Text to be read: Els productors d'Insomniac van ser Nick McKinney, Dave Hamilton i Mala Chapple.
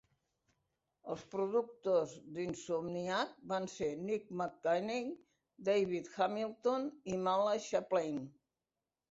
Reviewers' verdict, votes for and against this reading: rejected, 0, 2